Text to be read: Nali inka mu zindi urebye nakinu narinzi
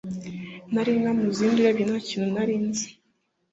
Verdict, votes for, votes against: accepted, 2, 0